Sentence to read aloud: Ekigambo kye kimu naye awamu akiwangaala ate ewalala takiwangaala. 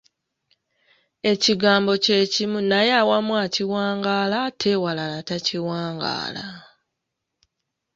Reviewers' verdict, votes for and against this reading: accepted, 3, 1